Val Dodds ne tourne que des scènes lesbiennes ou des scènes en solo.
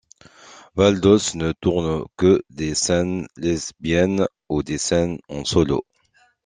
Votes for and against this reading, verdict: 2, 0, accepted